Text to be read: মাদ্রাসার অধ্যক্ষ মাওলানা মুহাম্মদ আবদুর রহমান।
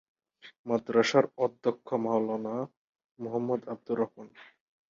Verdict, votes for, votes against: rejected, 2, 6